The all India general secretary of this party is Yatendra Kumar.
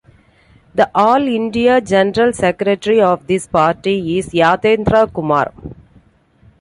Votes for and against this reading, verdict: 2, 0, accepted